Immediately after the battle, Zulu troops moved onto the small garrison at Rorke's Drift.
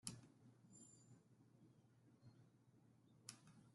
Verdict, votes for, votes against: rejected, 0, 2